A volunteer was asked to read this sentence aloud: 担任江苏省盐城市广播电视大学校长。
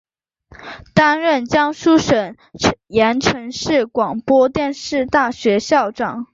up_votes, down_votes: 6, 1